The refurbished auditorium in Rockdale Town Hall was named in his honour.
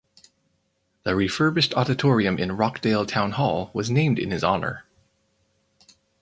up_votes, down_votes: 2, 0